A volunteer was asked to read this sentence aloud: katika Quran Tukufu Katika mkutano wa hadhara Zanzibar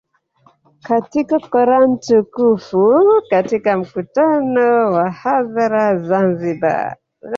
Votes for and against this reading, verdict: 0, 2, rejected